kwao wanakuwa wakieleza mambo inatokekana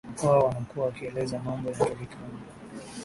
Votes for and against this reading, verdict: 5, 6, rejected